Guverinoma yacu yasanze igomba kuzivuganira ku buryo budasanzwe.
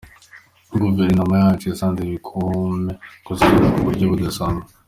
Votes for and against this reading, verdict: 1, 2, rejected